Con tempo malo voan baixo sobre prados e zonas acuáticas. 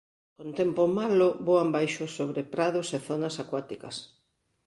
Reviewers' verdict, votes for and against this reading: accepted, 2, 0